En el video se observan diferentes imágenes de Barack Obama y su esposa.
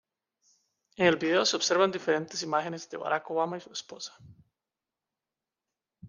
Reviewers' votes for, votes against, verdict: 2, 0, accepted